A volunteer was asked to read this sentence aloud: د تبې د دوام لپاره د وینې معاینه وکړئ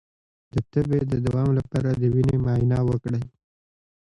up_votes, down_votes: 2, 0